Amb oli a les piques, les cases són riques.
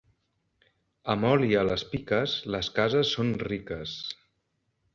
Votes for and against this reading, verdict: 3, 0, accepted